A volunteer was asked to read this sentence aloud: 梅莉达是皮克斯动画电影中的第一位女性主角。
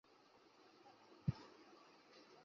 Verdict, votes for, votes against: rejected, 0, 2